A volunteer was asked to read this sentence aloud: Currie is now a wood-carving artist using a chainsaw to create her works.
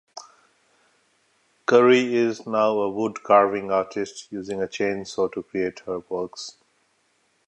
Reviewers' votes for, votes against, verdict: 2, 0, accepted